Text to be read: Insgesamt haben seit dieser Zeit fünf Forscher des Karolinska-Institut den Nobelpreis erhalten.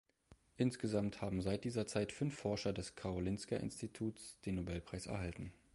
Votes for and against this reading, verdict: 0, 2, rejected